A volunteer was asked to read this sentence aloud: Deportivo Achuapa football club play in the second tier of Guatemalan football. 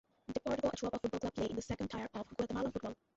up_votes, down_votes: 0, 2